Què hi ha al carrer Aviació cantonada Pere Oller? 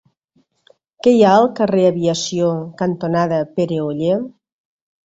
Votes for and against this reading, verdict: 3, 0, accepted